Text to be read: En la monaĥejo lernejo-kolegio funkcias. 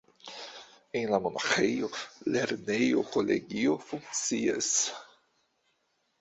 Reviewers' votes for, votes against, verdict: 2, 1, accepted